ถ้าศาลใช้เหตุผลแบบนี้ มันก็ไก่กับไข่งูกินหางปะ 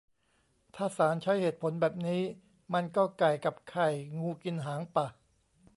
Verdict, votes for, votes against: rejected, 1, 2